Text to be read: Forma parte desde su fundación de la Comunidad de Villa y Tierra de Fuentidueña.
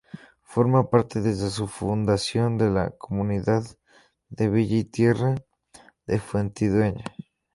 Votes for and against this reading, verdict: 2, 0, accepted